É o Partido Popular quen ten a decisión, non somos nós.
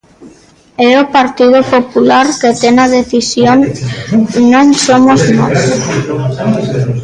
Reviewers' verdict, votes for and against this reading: rejected, 0, 2